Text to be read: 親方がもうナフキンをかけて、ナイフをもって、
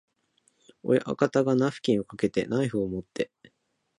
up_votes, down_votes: 0, 2